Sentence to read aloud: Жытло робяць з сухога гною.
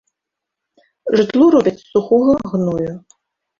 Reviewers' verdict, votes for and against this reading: accepted, 2, 0